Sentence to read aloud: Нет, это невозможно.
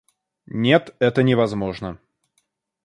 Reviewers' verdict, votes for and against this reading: accepted, 2, 0